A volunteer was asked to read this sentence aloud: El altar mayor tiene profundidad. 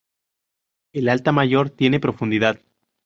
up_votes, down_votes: 2, 2